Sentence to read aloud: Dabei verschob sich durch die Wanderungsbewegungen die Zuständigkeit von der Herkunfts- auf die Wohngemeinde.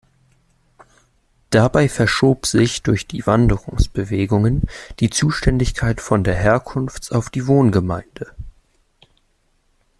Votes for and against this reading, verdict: 2, 0, accepted